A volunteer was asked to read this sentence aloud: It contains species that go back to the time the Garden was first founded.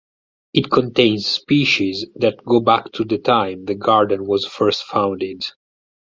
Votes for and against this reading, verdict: 4, 0, accepted